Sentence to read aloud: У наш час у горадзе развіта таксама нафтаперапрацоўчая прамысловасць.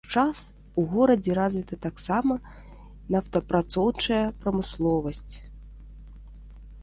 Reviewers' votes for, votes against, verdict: 1, 2, rejected